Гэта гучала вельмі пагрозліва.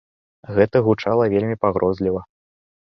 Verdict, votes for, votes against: accepted, 2, 0